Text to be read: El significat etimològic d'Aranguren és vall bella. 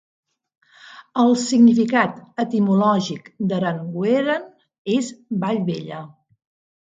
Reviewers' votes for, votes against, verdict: 0, 2, rejected